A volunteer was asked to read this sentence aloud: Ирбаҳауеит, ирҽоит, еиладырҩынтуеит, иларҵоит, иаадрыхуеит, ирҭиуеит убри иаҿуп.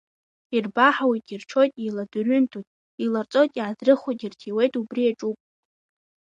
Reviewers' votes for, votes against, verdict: 1, 2, rejected